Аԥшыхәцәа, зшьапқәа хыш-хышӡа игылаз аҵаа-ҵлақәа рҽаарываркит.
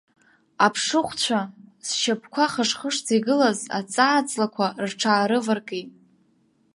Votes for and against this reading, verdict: 2, 1, accepted